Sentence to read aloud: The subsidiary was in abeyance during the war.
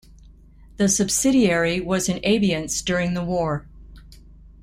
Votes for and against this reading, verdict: 1, 2, rejected